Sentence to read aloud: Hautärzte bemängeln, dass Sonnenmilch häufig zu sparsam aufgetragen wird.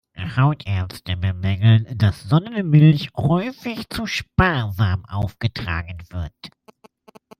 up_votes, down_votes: 1, 2